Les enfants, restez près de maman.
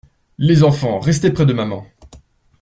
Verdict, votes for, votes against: accepted, 2, 0